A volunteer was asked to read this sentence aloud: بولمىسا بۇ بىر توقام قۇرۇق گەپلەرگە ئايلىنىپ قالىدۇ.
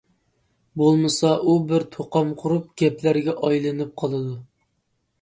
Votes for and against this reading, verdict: 0, 2, rejected